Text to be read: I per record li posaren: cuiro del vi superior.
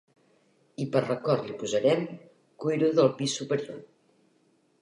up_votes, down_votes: 0, 3